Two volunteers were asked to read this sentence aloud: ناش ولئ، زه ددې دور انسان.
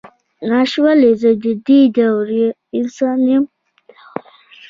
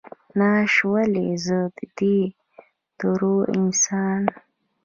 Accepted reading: first